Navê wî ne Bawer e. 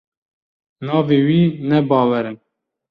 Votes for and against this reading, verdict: 1, 2, rejected